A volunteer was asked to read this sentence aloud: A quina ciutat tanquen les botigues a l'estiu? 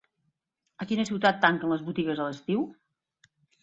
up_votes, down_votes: 7, 0